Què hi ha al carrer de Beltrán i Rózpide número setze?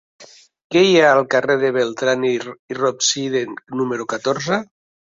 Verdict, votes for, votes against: rejected, 0, 2